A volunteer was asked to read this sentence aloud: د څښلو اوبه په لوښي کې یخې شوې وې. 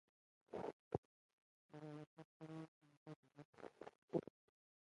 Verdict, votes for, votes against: rejected, 1, 6